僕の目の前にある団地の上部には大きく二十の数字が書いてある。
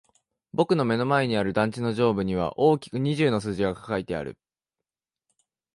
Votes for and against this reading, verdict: 1, 2, rejected